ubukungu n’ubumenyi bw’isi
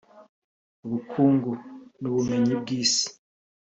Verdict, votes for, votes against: rejected, 0, 2